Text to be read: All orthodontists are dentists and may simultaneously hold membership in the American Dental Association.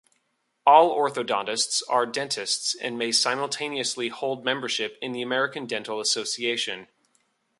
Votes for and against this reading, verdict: 2, 0, accepted